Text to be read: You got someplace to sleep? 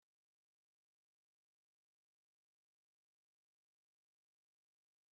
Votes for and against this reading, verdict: 0, 2, rejected